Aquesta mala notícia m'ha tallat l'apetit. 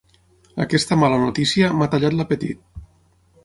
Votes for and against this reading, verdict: 6, 0, accepted